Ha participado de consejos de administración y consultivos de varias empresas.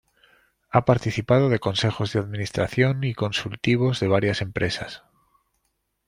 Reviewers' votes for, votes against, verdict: 2, 0, accepted